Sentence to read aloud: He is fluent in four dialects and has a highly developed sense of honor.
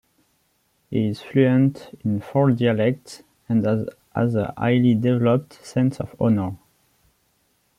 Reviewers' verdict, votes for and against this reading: rejected, 1, 2